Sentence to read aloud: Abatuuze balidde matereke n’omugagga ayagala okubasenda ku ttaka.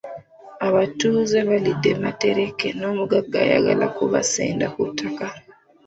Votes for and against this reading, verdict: 2, 0, accepted